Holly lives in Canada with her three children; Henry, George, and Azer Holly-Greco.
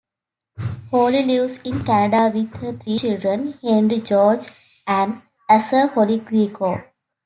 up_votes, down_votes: 2, 0